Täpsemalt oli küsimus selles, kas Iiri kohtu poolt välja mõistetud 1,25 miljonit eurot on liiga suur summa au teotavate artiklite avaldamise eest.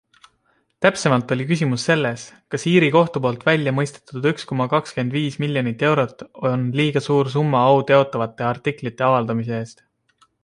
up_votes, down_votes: 0, 2